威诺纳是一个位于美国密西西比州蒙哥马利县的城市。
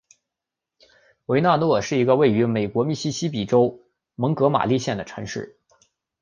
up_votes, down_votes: 2, 0